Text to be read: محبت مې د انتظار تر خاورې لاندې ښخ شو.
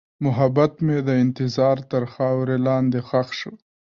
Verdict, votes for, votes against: accepted, 2, 1